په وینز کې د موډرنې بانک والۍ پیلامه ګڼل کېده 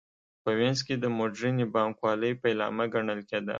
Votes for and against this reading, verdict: 2, 0, accepted